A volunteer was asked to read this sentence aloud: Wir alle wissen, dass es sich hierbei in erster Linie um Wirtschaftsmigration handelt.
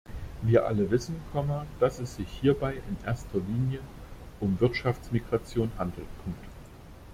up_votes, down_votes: 0, 2